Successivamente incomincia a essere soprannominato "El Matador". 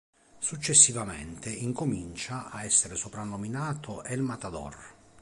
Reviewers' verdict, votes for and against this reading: accepted, 2, 0